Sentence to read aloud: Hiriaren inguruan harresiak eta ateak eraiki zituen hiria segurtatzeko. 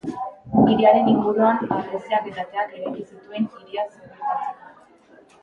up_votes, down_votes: 2, 1